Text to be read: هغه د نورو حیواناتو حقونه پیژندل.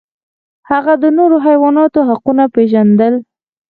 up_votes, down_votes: 2, 4